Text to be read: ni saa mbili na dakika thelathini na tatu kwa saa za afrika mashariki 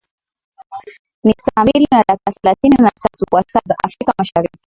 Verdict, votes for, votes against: rejected, 2, 11